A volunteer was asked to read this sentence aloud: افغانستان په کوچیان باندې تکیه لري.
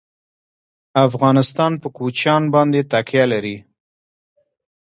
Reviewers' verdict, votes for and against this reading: rejected, 0, 2